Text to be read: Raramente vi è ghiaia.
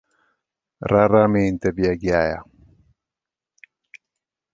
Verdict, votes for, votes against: rejected, 1, 2